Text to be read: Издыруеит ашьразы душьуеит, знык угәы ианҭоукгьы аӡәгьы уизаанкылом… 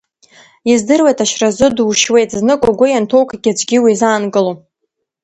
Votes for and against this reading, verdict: 2, 1, accepted